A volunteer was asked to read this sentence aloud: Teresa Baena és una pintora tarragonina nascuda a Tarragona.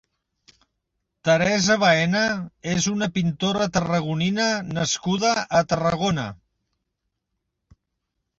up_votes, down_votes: 2, 0